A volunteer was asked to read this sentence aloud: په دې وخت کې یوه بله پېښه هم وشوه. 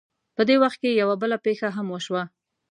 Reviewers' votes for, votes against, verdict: 2, 0, accepted